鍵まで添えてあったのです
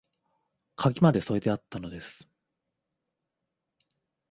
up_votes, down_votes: 2, 0